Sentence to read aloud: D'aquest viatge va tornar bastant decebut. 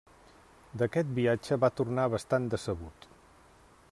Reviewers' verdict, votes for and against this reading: accepted, 3, 0